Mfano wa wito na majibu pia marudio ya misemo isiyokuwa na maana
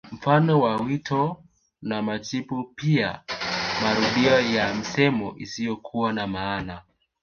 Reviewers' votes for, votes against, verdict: 2, 1, accepted